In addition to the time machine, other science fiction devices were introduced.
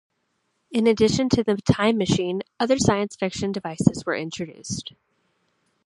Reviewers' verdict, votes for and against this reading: accepted, 2, 0